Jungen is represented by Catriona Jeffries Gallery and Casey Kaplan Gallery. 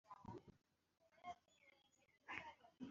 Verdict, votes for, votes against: rejected, 1, 2